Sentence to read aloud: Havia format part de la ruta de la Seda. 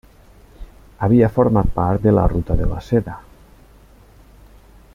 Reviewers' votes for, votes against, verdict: 3, 0, accepted